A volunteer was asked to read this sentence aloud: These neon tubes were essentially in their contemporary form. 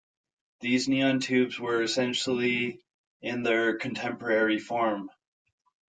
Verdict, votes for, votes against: accepted, 2, 0